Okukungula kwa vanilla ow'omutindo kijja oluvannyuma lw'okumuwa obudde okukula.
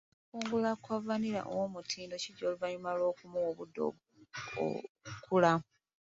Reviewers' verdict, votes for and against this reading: rejected, 0, 2